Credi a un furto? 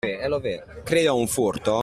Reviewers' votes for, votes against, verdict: 2, 1, accepted